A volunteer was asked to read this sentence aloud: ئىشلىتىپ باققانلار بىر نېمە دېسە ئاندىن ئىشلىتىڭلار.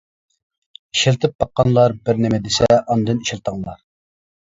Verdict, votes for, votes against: accepted, 2, 1